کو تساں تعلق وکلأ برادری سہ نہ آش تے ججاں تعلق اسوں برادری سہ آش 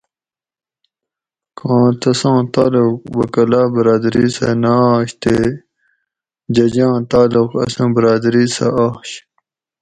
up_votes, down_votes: 2, 2